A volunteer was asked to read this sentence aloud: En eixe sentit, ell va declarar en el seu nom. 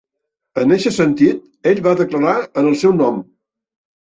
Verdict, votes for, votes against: accepted, 3, 0